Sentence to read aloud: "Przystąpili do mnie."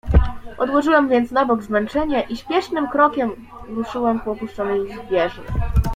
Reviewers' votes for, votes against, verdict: 0, 2, rejected